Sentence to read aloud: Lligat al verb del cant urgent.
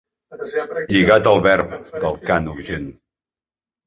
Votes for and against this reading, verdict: 2, 0, accepted